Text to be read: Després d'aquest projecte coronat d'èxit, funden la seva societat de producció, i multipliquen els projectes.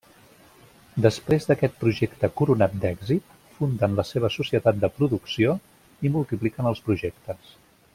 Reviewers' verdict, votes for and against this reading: accepted, 3, 1